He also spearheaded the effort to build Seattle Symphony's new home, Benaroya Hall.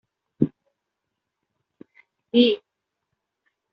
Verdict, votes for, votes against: rejected, 0, 2